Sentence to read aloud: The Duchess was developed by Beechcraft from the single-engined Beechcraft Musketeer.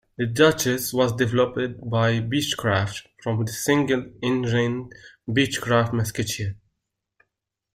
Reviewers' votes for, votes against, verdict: 2, 0, accepted